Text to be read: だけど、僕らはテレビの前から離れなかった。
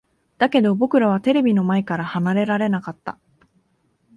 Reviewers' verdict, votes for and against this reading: rejected, 0, 2